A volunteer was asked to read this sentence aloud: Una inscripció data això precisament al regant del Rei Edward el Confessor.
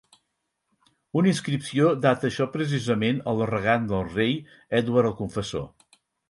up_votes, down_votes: 4, 0